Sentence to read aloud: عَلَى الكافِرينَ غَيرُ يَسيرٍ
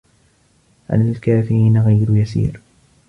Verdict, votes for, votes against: rejected, 1, 2